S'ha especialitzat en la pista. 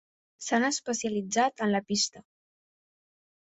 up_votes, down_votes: 0, 2